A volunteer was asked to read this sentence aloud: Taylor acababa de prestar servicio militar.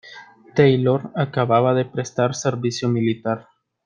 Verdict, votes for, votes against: accepted, 2, 0